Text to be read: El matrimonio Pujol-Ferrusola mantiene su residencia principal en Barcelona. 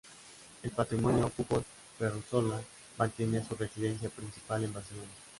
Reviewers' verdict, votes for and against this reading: rejected, 0, 2